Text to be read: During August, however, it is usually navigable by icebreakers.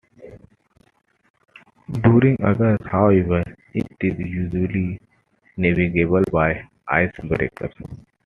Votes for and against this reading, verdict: 1, 2, rejected